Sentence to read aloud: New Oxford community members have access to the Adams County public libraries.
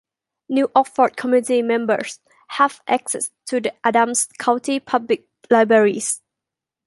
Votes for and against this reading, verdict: 0, 2, rejected